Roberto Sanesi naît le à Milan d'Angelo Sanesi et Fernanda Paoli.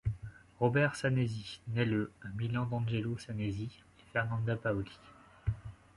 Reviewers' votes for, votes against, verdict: 1, 2, rejected